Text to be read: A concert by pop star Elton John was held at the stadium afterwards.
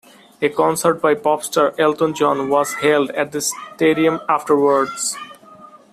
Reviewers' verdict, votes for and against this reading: rejected, 1, 2